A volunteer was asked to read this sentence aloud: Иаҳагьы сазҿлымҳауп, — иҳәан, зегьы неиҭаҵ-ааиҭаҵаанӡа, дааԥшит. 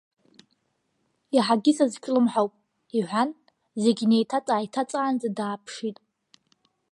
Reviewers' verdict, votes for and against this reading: accepted, 2, 1